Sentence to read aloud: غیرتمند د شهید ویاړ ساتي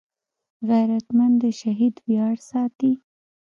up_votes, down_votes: 1, 2